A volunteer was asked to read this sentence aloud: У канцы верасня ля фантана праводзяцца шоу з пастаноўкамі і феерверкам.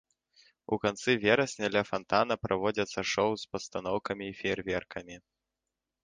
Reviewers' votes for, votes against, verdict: 1, 2, rejected